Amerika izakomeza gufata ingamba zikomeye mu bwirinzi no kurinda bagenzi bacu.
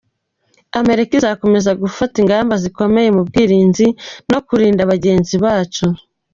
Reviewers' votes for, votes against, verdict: 2, 0, accepted